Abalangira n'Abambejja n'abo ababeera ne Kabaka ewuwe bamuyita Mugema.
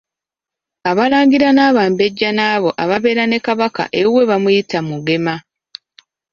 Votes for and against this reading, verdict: 0, 2, rejected